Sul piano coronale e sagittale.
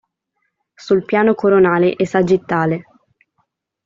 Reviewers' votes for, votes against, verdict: 2, 0, accepted